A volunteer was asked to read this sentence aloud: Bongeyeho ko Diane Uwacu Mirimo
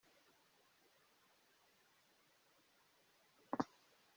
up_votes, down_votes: 0, 2